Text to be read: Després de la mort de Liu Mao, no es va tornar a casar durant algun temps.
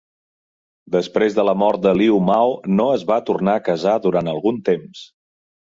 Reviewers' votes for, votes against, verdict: 4, 0, accepted